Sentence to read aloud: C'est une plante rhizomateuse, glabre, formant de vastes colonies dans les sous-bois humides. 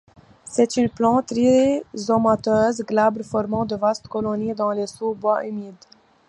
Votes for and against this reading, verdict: 2, 0, accepted